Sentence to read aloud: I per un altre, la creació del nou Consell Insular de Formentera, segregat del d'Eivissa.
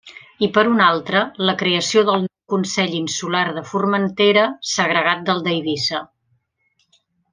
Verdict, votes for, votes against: rejected, 0, 3